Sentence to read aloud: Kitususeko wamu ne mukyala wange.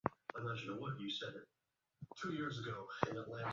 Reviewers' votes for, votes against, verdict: 0, 2, rejected